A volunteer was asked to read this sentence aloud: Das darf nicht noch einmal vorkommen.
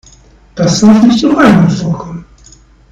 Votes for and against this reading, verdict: 1, 2, rejected